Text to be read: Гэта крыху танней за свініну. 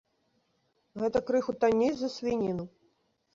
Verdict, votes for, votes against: rejected, 0, 2